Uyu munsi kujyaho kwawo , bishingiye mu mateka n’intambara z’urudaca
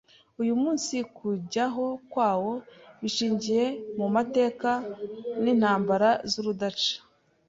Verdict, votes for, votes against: accepted, 2, 0